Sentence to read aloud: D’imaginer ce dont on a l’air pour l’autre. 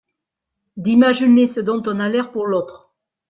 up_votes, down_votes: 1, 3